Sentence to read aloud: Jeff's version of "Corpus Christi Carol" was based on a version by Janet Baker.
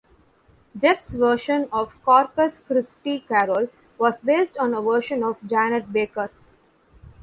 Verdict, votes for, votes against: rejected, 0, 2